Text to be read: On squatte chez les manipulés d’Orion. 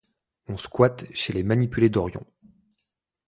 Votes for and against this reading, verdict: 2, 0, accepted